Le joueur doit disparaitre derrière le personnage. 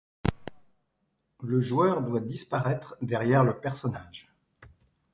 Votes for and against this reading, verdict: 2, 0, accepted